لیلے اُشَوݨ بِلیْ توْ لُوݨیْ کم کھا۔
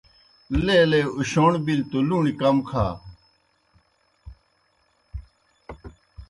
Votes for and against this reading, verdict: 2, 0, accepted